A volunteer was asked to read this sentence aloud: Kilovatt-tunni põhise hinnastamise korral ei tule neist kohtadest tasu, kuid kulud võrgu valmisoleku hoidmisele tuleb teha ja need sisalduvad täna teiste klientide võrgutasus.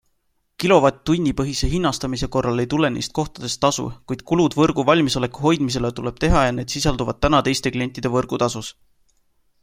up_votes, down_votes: 2, 0